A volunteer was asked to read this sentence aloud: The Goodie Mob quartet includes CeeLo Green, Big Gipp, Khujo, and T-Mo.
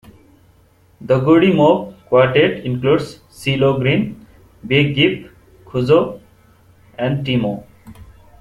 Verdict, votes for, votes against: rejected, 1, 2